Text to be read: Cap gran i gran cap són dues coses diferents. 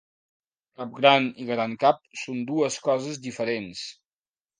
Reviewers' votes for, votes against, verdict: 3, 0, accepted